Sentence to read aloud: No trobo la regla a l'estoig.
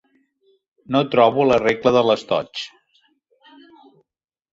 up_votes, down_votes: 1, 2